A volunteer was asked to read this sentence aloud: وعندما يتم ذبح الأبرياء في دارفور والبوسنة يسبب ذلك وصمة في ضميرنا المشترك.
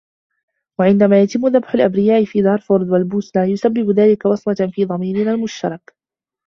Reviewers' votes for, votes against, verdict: 0, 2, rejected